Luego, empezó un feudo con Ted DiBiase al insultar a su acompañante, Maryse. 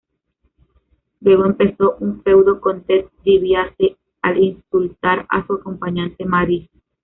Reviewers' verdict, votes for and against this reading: accepted, 2, 1